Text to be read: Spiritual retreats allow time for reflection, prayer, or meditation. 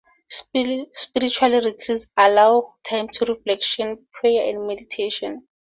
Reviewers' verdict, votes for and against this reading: rejected, 0, 4